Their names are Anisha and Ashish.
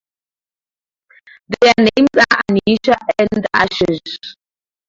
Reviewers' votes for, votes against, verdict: 0, 2, rejected